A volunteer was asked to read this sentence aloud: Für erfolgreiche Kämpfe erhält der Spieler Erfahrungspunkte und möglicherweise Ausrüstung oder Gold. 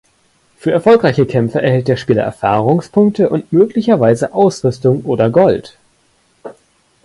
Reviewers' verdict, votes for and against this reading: accepted, 2, 0